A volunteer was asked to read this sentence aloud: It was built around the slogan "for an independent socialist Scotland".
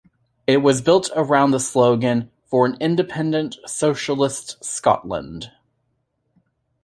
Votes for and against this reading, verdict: 2, 0, accepted